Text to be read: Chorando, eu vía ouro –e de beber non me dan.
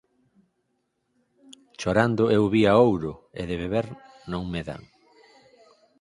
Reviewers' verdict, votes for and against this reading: accepted, 4, 0